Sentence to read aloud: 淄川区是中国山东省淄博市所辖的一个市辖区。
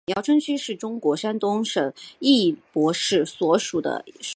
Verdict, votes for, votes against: rejected, 0, 3